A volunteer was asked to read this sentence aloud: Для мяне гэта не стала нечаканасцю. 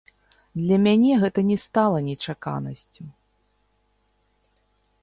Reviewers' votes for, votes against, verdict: 0, 2, rejected